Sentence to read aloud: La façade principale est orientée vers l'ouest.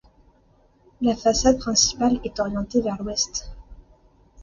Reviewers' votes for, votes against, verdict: 2, 0, accepted